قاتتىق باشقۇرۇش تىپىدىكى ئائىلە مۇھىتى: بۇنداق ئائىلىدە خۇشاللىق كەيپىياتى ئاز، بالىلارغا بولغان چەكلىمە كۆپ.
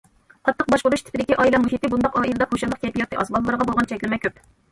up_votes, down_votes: 1, 2